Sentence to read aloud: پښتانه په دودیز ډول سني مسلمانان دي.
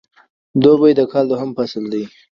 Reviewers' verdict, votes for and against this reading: rejected, 0, 2